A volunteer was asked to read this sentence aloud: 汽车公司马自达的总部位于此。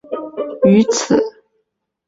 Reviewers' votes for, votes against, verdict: 0, 2, rejected